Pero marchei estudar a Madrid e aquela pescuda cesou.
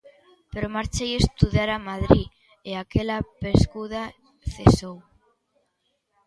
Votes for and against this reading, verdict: 2, 0, accepted